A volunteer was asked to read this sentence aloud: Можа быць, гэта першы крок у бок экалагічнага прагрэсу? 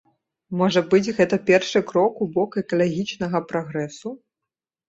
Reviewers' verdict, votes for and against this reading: accepted, 2, 0